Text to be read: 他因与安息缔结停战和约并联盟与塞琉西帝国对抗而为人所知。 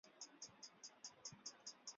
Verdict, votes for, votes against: rejected, 1, 2